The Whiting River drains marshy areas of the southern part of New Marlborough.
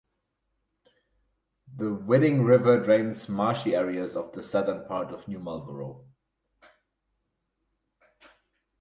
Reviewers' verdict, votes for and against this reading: rejected, 2, 4